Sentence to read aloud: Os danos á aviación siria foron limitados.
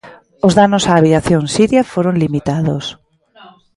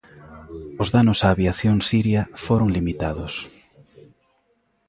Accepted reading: second